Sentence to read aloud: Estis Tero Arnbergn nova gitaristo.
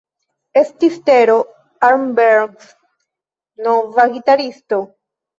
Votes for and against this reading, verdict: 1, 2, rejected